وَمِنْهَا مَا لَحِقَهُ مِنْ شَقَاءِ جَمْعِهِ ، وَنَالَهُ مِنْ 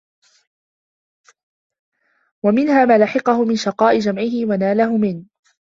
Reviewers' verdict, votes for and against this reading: accepted, 2, 0